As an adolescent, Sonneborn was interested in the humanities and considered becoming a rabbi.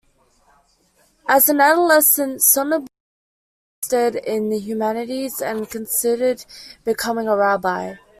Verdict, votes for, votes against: rejected, 0, 2